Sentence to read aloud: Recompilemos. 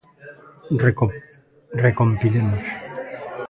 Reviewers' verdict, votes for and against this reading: rejected, 0, 2